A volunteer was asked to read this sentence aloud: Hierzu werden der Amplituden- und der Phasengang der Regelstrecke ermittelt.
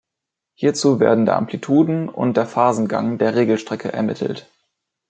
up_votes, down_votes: 2, 0